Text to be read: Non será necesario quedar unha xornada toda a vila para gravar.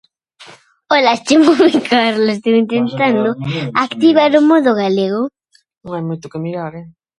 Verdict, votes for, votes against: rejected, 0, 2